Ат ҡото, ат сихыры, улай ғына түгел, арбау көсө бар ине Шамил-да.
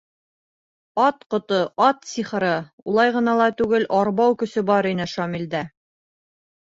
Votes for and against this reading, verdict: 1, 2, rejected